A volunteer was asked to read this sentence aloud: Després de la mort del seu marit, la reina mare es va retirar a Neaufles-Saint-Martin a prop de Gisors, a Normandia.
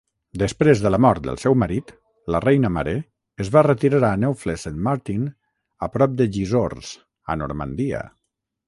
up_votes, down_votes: 3, 3